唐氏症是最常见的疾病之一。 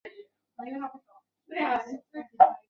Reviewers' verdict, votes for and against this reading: rejected, 0, 2